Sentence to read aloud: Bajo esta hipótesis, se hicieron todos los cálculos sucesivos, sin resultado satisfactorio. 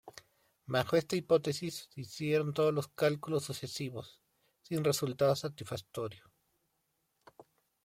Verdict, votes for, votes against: rejected, 0, 2